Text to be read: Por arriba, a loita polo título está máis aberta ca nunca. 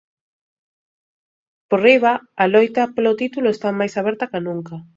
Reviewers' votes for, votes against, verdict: 1, 2, rejected